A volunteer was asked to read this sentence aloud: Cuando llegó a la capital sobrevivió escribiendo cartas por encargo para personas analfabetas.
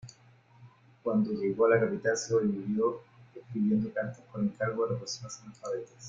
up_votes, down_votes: 0, 2